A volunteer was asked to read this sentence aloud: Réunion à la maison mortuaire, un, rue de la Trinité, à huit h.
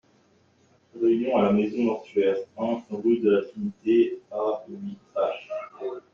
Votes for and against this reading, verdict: 1, 2, rejected